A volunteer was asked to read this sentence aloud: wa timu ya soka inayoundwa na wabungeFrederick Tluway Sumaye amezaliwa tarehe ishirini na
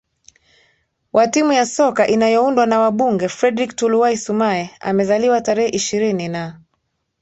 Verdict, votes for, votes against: accepted, 2, 0